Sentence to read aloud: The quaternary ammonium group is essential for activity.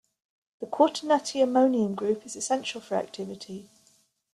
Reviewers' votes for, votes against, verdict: 0, 2, rejected